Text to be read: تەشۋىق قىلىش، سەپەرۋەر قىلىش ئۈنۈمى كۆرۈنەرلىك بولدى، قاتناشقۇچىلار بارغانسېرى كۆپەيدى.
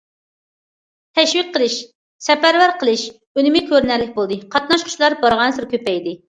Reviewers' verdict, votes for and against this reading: accepted, 2, 0